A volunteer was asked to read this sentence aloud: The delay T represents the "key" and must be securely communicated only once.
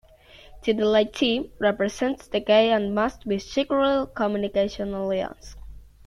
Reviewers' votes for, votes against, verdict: 0, 2, rejected